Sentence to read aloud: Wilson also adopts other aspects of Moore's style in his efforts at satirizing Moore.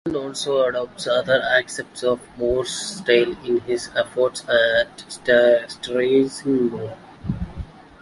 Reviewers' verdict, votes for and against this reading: rejected, 1, 2